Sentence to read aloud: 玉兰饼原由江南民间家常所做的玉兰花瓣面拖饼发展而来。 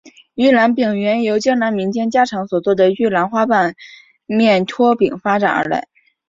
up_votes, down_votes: 6, 0